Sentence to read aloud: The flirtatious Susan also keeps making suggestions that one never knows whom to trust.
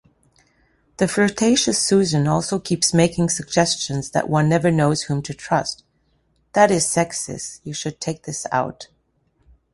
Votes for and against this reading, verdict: 0, 2, rejected